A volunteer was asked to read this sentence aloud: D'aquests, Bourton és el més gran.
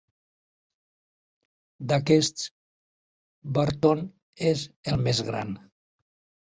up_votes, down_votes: 2, 3